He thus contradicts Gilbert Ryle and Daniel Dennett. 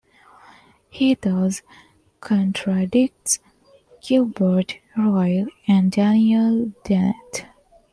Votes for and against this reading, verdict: 2, 0, accepted